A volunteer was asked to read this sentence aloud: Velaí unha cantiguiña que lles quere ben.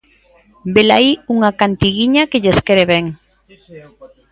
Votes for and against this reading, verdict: 0, 2, rejected